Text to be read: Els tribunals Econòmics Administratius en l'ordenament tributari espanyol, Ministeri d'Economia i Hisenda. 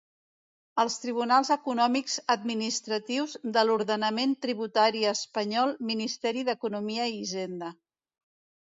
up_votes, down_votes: 1, 2